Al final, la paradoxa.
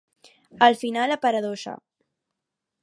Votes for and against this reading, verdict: 0, 4, rejected